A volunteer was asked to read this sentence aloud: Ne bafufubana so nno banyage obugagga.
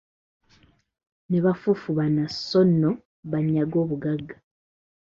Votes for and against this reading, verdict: 2, 0, accepted